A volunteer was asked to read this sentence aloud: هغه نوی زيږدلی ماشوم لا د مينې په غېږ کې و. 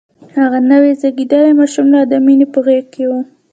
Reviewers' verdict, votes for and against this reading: accepted, 2, 1